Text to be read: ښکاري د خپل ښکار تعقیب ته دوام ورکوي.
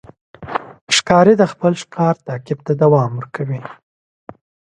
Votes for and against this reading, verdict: 2, 0, accepted